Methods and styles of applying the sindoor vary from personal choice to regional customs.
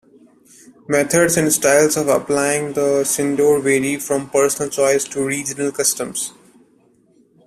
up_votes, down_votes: 2, 0